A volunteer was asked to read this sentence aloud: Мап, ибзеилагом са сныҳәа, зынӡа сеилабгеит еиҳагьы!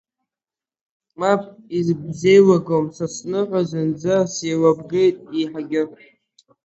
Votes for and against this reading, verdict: 1, 8, rejected